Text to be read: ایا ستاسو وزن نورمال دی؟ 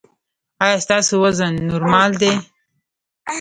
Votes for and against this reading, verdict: 0, 2, rejected